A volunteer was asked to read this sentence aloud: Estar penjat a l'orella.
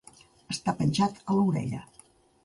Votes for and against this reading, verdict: 3, 0, accepted